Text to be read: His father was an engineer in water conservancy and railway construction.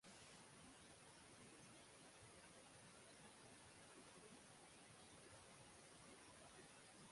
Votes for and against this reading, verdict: 0, 3, rejected